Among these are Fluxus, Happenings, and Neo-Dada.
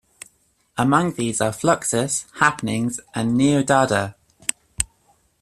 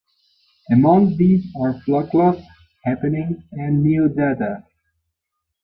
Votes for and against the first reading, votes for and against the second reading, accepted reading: 2, 0, 1, 2, first